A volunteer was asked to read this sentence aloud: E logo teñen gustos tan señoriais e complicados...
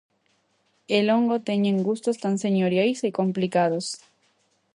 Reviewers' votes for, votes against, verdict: 0, 2, rejected